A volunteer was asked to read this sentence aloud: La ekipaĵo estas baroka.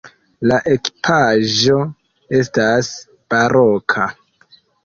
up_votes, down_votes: 0, 2